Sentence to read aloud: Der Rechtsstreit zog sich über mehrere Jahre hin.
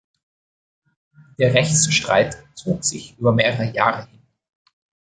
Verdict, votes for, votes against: rejected, 1, 2